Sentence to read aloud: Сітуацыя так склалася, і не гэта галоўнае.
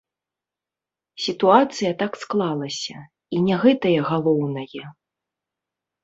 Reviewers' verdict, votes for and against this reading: rejected, 0, 2